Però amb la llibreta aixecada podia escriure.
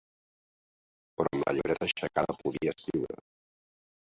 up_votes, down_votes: 1, 2